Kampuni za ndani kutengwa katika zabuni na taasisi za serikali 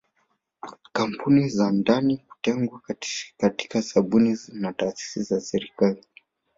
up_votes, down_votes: 2, 0